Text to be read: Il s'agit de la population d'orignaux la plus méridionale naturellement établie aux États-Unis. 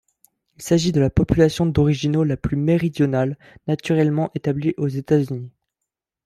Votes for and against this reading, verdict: 0, 2, rejected